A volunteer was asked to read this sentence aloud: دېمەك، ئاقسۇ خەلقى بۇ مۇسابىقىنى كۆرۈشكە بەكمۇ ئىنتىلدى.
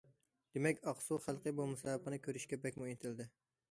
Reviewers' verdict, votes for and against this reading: accepted, 2, 0